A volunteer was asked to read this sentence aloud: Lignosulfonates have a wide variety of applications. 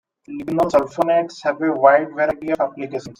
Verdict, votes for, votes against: rejected, 1, 2